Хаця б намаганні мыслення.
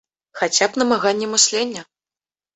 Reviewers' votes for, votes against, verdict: 2, 0, accepted